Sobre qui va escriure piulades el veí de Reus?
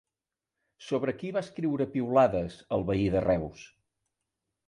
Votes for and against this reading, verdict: 3, 0, accepted